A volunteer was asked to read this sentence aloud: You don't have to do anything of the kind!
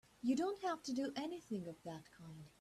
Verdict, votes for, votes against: rejected, 0, 2